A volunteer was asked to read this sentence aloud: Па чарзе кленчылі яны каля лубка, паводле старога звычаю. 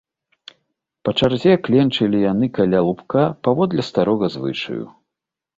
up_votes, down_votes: 2, 0